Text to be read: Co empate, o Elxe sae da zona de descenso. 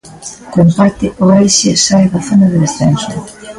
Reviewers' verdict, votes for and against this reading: accepted, 2, 0